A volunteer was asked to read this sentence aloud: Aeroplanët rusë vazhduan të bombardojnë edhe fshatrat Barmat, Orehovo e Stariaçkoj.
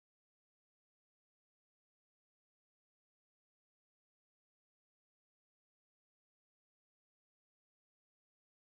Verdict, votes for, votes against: rejected, 0, 2